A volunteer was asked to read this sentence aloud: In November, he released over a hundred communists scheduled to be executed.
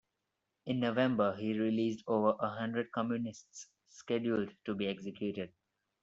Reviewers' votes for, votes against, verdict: 2, 0, accepted